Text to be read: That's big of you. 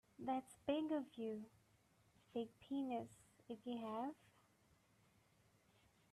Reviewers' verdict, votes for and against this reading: rejected, 0, 3